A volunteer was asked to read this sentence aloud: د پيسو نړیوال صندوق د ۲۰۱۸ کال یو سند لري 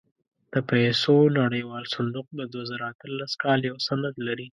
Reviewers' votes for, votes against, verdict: 0, 2, rejected